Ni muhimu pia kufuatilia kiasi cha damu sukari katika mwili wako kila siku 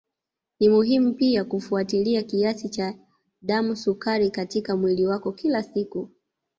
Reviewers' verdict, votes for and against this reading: rejected, 1, 2